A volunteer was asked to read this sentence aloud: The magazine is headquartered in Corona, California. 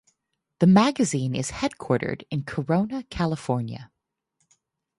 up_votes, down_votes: 4, 0